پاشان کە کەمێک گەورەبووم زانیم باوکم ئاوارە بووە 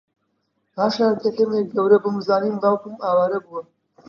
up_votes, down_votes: 2, 0